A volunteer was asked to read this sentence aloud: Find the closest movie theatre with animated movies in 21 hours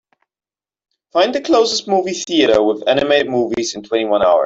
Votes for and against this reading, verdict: 0, 2, rejected